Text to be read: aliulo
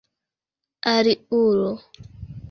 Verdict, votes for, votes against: rejected, 1, 2